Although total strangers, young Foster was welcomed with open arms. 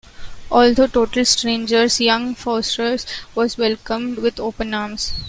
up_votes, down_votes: 0, 2